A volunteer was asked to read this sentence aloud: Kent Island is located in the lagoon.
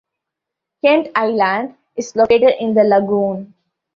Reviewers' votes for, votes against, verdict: 2, 0, accepted